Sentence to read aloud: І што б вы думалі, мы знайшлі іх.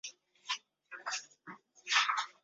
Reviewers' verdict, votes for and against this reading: rejected, 0, 2